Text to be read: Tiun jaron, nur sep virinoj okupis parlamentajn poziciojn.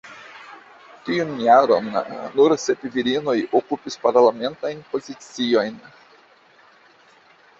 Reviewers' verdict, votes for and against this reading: accepted, 2, 0